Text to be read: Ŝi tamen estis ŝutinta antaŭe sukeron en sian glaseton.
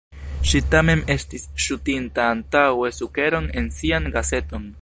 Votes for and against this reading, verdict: 1, 2, rejected